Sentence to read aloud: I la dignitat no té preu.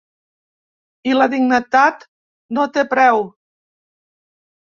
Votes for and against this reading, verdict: 0, 2, rejected